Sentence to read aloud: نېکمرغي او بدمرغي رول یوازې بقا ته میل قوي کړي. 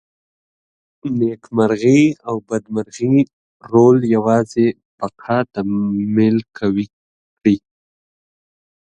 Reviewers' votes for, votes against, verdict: 3, 4, rejected